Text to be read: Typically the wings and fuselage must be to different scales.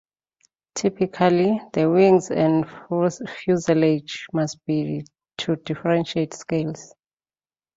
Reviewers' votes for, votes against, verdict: 0, 2, rejected